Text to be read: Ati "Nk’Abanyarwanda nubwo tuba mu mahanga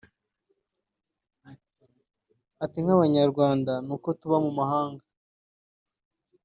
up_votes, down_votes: 2, 0